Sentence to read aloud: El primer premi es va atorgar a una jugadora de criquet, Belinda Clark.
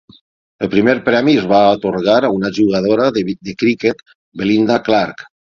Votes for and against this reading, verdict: 3, 6, rejected